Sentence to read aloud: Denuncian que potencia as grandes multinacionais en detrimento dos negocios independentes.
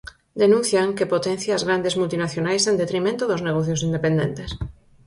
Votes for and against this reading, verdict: 6, 0, accepted